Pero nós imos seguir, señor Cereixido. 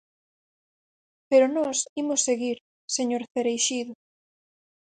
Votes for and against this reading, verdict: 6, 0, accepted